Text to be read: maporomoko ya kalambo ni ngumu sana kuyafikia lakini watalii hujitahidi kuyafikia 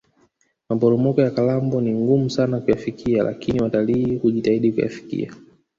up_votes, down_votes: 1, 2